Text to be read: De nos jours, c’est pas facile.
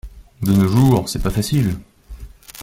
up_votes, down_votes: 2, 0